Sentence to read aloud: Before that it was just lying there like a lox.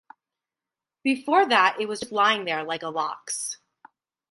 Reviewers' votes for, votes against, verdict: 2, 2, rejected